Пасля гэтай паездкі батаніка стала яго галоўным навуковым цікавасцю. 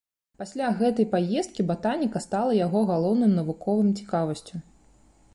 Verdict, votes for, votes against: rejected, 1, 2